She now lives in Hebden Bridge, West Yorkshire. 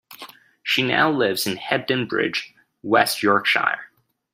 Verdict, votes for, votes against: accepted, 2, 0